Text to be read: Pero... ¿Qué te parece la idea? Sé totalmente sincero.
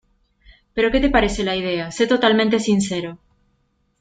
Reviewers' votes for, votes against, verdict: 2, 0, accepted